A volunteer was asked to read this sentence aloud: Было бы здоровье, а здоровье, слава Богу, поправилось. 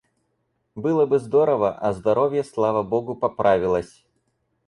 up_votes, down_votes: 2, 4